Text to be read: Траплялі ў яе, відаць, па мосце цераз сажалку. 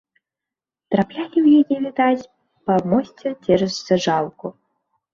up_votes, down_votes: 1, 2